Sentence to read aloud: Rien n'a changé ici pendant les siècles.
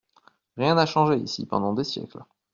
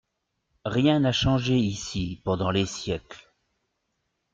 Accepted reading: second